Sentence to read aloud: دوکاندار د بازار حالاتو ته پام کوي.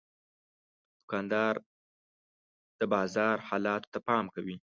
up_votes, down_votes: 1, 2